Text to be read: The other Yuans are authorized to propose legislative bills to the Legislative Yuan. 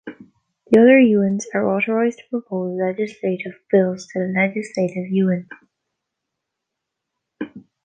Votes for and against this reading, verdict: 1, 2, rejected